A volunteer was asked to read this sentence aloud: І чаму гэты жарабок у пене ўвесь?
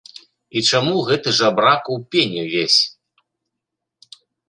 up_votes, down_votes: 0, 2